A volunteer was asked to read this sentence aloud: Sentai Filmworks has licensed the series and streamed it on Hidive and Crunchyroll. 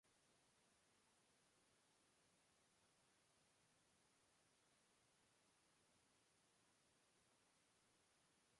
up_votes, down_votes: 0, 2